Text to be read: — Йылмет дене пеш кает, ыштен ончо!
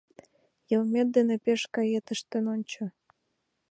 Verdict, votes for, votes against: accepted, 2, 0